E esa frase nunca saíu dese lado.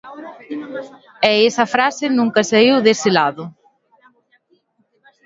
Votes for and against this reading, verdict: 1, 2, rejected